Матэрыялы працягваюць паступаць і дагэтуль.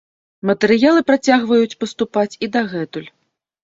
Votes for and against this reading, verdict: 2, 0, accepted